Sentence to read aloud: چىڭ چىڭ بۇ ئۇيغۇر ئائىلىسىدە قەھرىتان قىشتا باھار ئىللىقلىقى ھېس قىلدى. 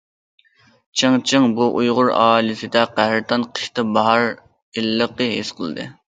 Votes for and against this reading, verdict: 0, 2, rejected